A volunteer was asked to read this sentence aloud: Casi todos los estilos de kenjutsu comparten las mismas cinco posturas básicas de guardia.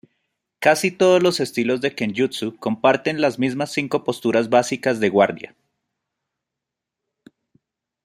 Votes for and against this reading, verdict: 2, 0, accepted